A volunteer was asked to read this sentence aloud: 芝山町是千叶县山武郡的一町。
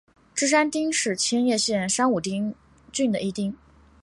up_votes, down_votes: 0, 2